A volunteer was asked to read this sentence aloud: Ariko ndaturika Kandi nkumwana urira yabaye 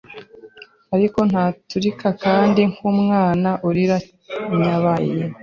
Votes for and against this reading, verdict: 1, 2, rejected